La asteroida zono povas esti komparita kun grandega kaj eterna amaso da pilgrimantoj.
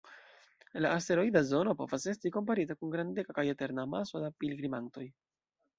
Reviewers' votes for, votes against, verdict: 2, 0, accepted